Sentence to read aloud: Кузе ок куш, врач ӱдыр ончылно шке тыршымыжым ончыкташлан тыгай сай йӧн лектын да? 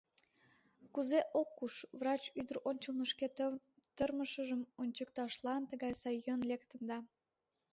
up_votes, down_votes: 0, 3